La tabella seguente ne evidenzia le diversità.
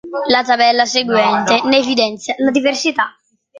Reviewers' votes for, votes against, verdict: 1, 2, rejected